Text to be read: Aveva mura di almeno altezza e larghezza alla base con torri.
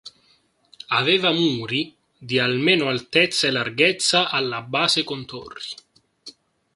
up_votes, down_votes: 0, 3